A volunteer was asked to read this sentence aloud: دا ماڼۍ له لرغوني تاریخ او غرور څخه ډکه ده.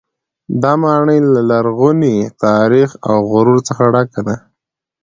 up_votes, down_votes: 2, 0